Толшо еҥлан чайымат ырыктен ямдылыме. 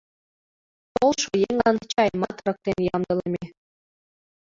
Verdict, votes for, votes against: accepted, 2, 0